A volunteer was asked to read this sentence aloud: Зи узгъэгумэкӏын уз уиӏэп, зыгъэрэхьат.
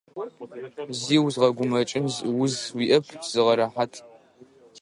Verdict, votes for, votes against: rejected, 0, 2